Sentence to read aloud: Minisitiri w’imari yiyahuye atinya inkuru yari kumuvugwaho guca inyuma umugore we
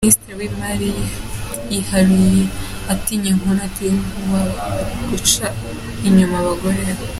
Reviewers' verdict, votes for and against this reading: rejected, 0, 2